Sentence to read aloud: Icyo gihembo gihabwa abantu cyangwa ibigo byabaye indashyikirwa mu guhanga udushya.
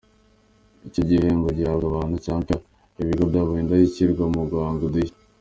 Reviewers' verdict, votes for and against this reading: accepted, 2, 1